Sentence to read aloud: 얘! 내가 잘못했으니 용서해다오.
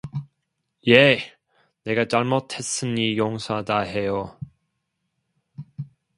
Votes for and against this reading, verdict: 0, 2, rejected